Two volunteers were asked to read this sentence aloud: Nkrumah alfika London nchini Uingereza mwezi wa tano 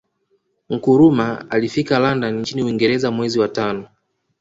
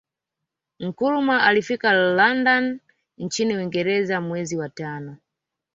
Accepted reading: second